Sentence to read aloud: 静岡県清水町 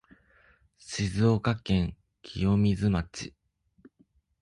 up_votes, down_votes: 2, 4